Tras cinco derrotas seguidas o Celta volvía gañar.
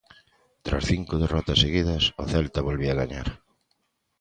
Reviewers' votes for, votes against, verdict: 2, 0, accepted